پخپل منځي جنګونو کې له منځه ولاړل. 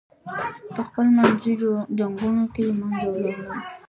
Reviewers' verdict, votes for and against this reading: rejected, 2, 3